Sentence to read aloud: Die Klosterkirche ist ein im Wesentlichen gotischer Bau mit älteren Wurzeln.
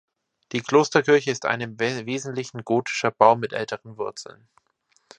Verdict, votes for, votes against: rejected, 1, 2